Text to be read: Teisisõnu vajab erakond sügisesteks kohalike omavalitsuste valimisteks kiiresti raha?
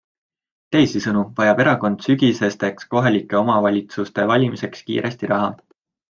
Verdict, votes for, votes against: accepted, 2, 1